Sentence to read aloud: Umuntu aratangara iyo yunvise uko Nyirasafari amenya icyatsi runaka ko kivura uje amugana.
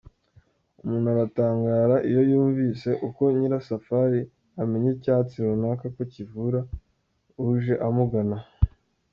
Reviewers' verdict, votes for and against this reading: accepted, 3, 0